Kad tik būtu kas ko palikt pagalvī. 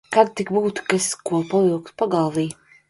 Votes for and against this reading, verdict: 0, 2, rejected